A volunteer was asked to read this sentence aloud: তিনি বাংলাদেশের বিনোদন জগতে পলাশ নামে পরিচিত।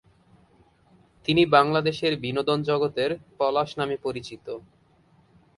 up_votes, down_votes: 2, 2